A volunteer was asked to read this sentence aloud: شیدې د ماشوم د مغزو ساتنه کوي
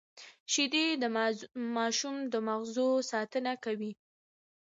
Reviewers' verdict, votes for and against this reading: rejected, 1, 2